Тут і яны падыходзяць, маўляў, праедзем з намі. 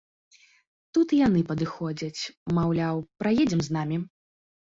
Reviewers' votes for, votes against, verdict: 2, 0, accepted